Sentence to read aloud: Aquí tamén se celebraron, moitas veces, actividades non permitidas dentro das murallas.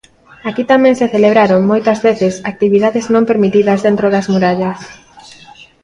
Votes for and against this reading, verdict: 2, 0, accepted